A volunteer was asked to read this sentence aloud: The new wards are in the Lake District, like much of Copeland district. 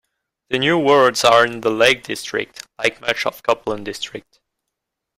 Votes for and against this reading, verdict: 2, 0, accepted